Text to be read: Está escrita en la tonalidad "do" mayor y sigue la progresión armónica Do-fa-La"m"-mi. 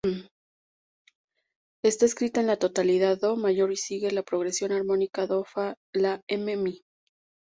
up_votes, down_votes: 2, 2